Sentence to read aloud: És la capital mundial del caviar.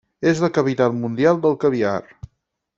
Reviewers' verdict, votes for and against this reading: rejected, 2, 4